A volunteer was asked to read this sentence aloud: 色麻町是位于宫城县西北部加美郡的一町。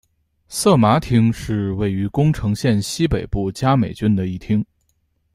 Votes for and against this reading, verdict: 2, 0, accepted